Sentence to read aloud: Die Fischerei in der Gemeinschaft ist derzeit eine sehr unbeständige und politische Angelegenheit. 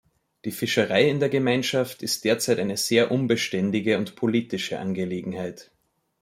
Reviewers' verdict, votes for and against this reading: accepted, 2, 0